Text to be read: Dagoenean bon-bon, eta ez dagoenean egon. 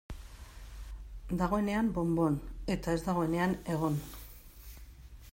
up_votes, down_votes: 2, 0